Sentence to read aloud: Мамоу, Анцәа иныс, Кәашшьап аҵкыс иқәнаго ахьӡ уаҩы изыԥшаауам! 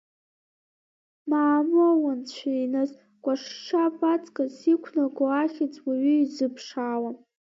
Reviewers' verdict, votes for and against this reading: rejected, 1, 2